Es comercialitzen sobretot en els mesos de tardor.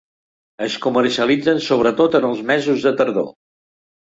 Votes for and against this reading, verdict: 2, 0, accepted